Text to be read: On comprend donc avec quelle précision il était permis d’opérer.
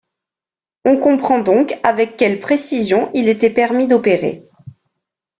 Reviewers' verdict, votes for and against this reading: accepted, 2, 0